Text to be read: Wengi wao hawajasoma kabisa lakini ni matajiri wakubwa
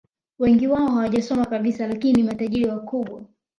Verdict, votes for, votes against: accepted, 2, 0